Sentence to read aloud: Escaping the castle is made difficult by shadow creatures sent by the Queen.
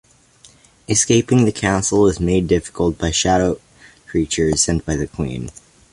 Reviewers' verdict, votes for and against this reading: accepted, 2, 0